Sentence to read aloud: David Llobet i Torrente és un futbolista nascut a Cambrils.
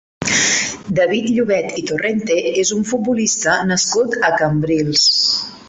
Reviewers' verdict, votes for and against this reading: accepted, 2, 1